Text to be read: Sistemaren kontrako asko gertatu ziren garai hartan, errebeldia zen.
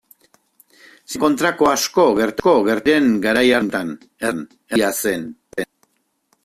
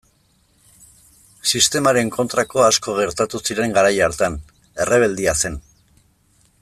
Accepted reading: second